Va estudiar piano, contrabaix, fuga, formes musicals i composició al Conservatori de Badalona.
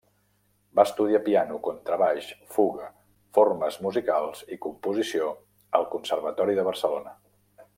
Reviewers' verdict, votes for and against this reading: rejected, 0, 2